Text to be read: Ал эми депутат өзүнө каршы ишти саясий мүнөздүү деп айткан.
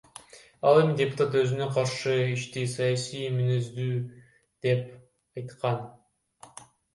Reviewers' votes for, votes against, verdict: 1, 2, rejected